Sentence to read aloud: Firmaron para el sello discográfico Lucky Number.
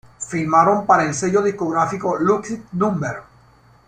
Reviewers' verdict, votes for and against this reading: rejected, 1, 2